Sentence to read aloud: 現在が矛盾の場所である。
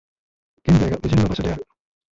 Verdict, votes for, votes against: rejected, 1, 4